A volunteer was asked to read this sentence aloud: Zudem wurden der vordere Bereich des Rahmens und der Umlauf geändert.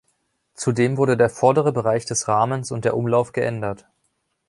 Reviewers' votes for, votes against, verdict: 1, 2, rejected